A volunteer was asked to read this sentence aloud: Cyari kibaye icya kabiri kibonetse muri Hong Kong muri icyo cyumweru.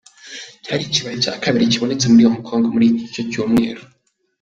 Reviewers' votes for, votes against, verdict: 1, 2, rejected